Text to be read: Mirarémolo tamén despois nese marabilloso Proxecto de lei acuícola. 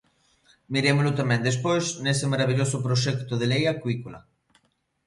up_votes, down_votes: 0, 2